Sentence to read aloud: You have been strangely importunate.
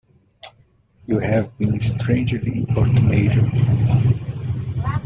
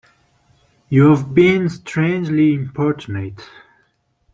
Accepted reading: second